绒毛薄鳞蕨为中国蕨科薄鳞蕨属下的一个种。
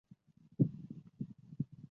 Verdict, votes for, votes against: rejected, 0, 2